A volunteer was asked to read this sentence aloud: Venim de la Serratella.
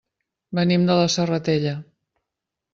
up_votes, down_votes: 3, 1